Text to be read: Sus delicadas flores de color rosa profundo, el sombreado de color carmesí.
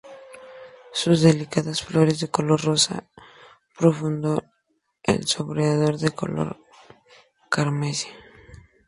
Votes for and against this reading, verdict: 2, 0, accepted